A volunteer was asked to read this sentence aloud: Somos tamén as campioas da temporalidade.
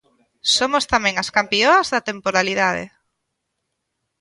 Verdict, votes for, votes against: accepted, 2, 0